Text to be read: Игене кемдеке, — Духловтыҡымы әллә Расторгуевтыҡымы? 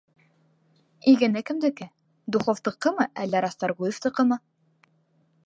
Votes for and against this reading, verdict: 2, 0, accepted